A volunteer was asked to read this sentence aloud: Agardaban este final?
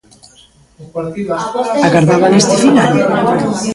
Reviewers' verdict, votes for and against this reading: rejected, 0, 2